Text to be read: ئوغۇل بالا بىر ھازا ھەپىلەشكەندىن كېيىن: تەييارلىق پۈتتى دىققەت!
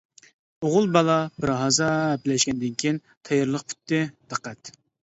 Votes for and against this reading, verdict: 2, 0, accepted